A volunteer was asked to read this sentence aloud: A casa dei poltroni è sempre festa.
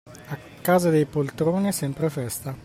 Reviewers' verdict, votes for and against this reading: accepted, 2, 0